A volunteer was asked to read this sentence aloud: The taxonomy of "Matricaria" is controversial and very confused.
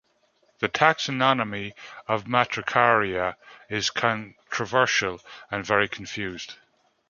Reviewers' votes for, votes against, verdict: 1, 2, rejected